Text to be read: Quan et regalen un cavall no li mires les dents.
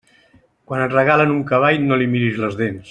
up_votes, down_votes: 2, 0